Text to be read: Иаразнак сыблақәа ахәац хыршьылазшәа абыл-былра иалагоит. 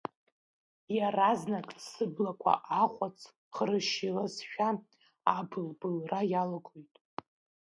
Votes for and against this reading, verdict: 2, 1, accepted